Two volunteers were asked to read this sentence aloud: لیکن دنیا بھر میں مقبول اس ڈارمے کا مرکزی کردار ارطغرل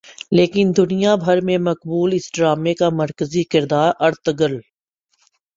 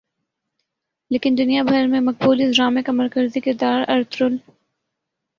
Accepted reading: first